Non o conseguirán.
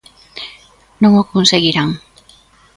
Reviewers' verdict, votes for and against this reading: accepted, 2, 0